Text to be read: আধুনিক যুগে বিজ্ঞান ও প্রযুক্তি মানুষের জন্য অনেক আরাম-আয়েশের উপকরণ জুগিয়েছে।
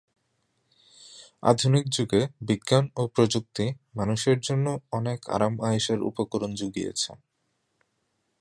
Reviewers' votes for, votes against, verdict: 2, 0, accepted